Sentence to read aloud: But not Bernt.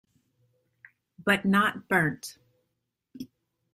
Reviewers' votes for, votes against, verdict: 2, 0, accepted